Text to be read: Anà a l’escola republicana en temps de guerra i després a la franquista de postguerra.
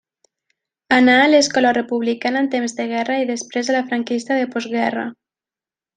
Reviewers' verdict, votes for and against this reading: accepted, 2, 0